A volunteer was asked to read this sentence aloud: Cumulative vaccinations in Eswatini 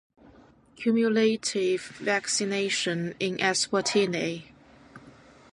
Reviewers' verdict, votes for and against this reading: rejected, 1, 2